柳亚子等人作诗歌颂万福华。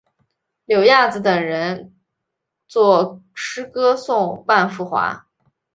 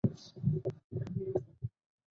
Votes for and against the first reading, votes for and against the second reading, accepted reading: 2, 0, 0, 2, first